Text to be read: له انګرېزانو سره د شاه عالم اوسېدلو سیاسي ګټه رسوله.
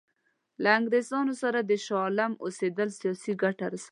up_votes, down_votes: 1, 2